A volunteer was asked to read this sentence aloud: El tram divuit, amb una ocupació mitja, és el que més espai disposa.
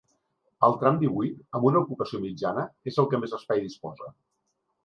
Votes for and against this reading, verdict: 1, 2, rejected